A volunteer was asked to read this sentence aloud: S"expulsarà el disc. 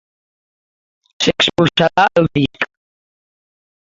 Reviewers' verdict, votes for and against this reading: rejected, 0, 2